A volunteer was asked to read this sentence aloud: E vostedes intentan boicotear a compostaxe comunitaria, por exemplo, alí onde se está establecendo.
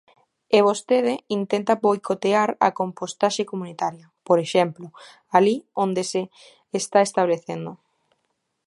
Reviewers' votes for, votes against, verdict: 0, 2, rejected